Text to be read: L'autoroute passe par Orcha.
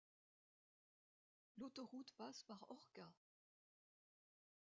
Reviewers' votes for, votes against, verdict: 0, 2, rejected